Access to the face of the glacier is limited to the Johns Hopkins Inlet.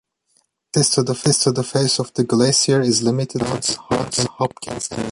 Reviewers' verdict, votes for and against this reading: rejected, 1, 2